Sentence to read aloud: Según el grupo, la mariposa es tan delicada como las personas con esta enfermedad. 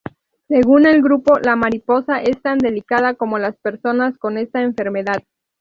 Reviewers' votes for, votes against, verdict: 0, 2, rejected